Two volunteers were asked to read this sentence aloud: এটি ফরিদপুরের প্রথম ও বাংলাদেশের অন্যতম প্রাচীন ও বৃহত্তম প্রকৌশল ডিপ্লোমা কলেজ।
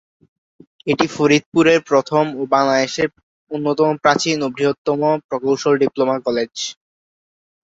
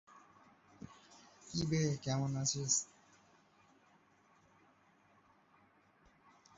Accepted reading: first